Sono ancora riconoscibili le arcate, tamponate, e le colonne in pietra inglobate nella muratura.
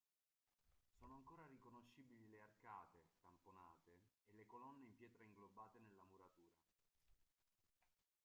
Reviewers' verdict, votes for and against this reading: rejected, 1, 2